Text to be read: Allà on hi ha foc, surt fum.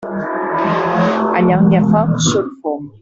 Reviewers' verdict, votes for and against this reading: rejected, 0, 2